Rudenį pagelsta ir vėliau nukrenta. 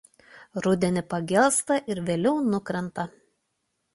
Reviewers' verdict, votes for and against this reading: accepted, 2, 0